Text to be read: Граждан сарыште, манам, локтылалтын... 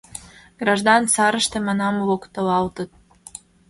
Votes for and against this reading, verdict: 1, 2, rejected